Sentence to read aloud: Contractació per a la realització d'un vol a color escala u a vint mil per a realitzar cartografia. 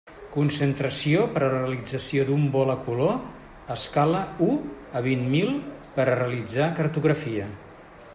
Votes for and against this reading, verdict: 0, 2, rejected